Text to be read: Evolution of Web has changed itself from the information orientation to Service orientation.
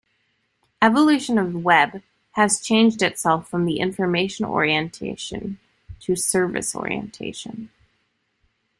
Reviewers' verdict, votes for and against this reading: accepted, 2, 0